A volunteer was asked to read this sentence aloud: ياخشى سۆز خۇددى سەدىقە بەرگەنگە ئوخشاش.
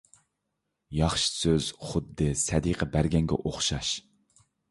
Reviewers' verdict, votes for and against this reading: accepted, 2, 0